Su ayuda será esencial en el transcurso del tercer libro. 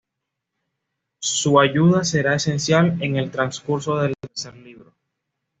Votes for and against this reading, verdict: 2, 0, accepted